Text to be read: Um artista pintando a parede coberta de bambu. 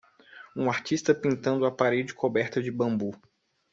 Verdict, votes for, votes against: accepted, 2, 0